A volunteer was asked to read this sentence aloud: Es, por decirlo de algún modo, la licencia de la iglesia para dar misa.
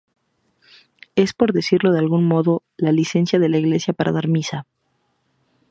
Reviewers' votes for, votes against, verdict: 2, 0, accepted